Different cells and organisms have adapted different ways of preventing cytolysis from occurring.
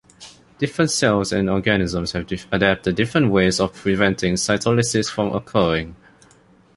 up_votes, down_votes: 2, 0